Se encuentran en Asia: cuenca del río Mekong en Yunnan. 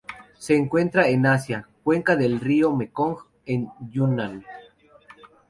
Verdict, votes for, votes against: accepted, 2, 0